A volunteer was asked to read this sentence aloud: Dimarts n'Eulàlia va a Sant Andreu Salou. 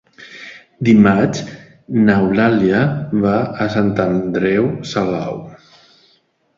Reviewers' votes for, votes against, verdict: 2, 0, accepted